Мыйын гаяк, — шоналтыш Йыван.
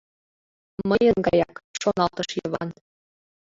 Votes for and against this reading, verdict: 1, 2, rejected